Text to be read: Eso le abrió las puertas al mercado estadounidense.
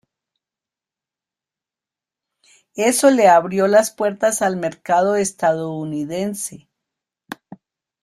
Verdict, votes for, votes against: rejected, 1, 2